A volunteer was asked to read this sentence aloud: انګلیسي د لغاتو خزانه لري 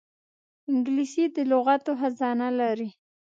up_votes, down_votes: 2, 0